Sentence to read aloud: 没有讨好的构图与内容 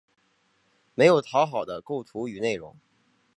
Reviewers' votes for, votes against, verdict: 2, 0, accepted